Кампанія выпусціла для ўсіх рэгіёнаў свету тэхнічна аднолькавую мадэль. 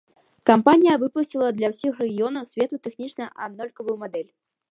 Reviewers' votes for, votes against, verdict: 2, 0, accepted